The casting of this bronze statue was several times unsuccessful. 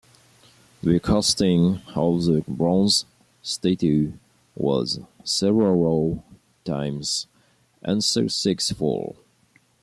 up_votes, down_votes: 2, 1